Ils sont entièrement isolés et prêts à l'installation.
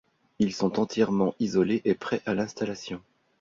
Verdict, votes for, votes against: accepted, 2, 0